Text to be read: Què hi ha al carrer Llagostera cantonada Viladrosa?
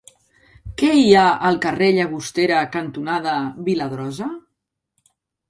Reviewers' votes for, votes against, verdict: 3, 0, accepted